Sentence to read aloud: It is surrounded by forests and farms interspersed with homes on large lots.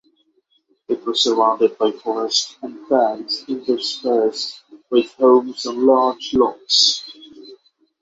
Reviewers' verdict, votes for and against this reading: accepted, 6, 0